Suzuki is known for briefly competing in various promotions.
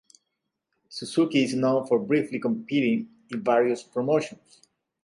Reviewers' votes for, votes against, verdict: 2, 0, accepted